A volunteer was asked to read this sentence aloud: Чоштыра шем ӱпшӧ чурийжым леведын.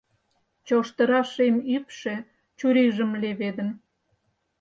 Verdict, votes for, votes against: accepted, 4, 0